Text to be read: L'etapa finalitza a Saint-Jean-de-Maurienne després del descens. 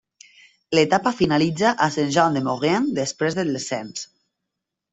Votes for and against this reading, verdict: 2, 0, accepted